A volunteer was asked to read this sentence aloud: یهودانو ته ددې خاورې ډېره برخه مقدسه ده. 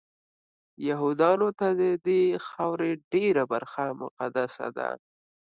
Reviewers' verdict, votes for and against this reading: accepted, 3, 0